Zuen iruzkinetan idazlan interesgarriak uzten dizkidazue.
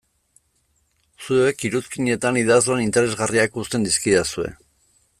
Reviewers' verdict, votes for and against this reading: rejected, 0, 2